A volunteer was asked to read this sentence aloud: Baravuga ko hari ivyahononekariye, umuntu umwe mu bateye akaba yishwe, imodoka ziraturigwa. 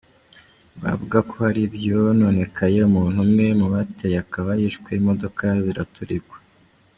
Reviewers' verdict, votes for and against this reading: rejected, 0, 2